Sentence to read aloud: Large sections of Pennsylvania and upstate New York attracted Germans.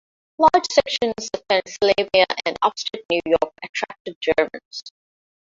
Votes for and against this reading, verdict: 0, 2, rejected